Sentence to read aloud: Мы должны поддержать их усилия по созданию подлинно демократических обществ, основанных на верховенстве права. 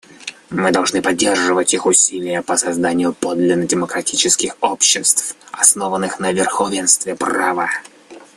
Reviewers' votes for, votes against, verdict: 1, 2, rejected